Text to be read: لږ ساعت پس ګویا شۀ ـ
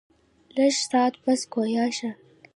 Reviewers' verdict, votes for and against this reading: rejected, 1, 2